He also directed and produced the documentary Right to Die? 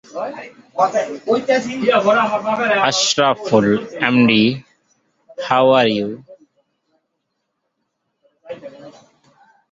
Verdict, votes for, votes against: rejected, 0, 2